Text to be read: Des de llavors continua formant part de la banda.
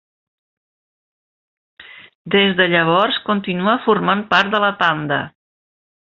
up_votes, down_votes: 1, 2